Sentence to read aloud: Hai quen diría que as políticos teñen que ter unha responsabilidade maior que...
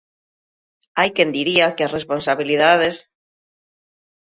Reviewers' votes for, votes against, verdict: 0, 3, rejected